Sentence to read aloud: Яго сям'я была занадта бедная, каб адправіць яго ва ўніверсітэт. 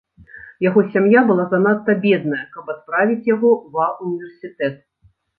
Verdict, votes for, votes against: rejected, 0, 2